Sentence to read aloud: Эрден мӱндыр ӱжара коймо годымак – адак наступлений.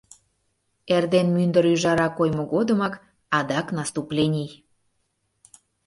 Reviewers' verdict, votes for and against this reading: accepted, 2, 0